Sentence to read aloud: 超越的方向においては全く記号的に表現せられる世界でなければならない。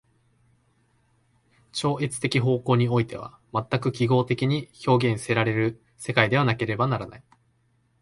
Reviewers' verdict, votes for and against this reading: rejected, 0, 2